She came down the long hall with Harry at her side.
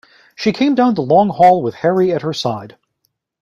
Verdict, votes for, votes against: accepted, 2, 0